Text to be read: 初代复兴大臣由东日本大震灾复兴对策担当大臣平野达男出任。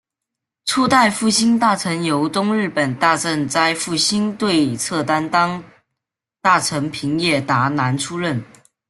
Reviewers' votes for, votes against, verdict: 1, 2, rejected